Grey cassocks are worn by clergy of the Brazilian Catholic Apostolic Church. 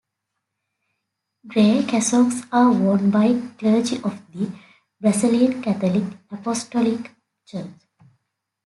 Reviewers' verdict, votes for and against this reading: accepted, 2, 1